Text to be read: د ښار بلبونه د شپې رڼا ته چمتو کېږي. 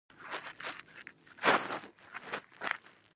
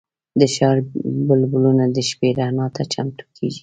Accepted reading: second